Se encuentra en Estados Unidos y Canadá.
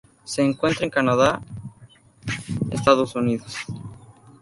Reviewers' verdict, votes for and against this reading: rejected, 0, 2